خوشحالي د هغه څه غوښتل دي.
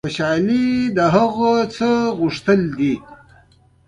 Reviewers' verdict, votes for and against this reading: accepted, 2, 0